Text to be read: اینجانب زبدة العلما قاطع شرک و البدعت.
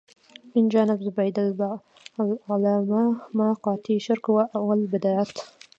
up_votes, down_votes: 1, 2